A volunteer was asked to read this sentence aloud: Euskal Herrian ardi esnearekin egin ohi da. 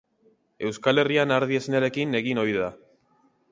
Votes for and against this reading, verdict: 3, 0, accepted